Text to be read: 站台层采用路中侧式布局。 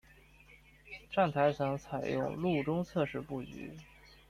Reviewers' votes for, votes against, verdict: 2, 0, accepted